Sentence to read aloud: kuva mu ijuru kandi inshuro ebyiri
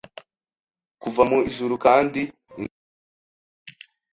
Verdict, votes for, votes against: rejected, 1, 2